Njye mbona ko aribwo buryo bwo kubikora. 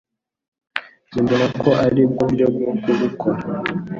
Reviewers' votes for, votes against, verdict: 2, 1, accepted